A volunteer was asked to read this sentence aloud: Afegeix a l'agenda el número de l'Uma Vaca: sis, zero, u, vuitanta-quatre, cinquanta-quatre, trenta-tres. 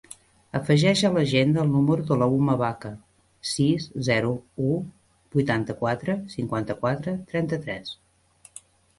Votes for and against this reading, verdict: 0, 2, rejected